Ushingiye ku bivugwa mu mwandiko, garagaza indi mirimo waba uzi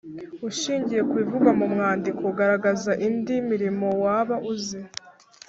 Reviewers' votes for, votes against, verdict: 2, 0, accepted